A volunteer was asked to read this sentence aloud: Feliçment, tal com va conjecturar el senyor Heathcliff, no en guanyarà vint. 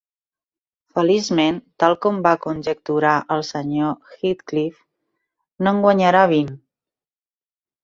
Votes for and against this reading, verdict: 4, 0, accepted